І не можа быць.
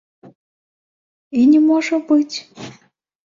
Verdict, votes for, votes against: rejected, 1, 3